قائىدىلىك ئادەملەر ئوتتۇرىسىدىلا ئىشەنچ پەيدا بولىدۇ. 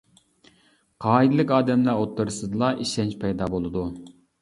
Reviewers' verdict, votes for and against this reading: accepted, 2, 0